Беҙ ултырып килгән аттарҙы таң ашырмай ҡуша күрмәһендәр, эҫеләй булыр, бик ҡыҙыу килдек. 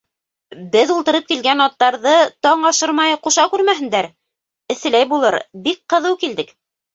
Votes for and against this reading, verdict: 2, 0, accepted